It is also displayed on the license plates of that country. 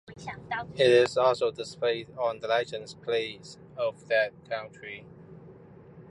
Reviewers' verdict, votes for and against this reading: accepted, 2, 1